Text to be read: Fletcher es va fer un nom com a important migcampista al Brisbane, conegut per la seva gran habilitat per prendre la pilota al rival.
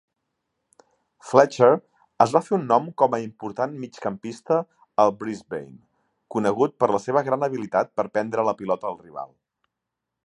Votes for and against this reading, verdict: 3, 0, accepted